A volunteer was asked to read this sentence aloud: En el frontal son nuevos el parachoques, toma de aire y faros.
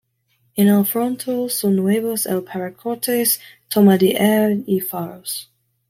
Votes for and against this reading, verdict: 1, 2, rejected